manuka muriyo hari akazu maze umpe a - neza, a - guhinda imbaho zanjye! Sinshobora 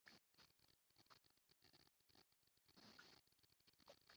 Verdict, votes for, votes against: rejected, 0, 2